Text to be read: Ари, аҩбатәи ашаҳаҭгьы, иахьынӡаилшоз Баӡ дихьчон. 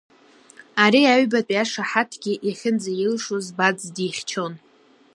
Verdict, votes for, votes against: accepted, 2, 0